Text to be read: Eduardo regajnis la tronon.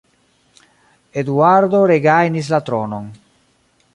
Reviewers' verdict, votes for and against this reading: rejected, 1, 2